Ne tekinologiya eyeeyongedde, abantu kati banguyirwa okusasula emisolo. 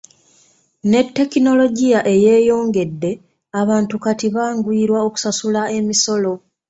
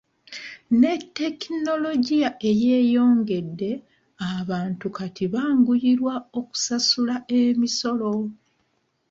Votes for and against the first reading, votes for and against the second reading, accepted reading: 2, 0, 0, 2, first